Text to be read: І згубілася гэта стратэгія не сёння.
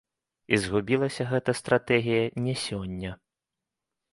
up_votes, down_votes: 2, 0